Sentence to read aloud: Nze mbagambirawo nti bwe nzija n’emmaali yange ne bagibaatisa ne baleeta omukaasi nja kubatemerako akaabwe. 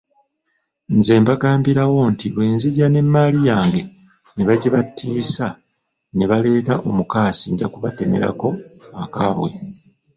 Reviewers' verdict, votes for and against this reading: rejected, 1, 2